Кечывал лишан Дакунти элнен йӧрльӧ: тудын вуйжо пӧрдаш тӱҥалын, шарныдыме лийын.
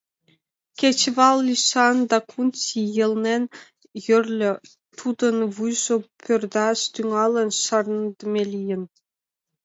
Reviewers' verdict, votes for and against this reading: rejected, 1, 2